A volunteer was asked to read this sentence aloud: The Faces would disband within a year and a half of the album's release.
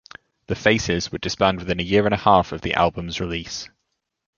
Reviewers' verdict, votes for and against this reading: accepted, 2, 0